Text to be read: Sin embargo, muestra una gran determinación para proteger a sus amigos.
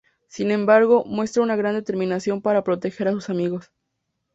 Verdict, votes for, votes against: accepted, 2, 0